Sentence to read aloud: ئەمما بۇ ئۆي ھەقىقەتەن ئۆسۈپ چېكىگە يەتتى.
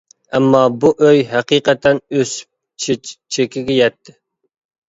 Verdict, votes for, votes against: rejected, 0, 2